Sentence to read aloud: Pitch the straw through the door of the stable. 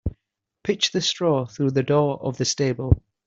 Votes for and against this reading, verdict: 2, 0, accepted